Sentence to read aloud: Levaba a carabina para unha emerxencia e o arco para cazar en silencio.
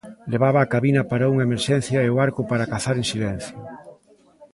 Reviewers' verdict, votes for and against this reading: rejected, 1, 2